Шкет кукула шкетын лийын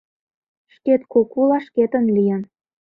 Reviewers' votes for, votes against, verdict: 2, 0, accepted